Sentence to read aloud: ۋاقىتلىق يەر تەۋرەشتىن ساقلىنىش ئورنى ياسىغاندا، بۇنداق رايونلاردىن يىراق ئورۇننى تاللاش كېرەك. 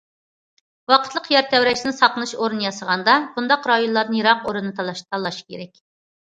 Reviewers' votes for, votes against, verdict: 0, 2, rejected